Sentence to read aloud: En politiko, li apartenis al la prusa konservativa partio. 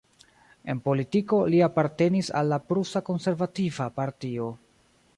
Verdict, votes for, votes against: rejected, 1, 2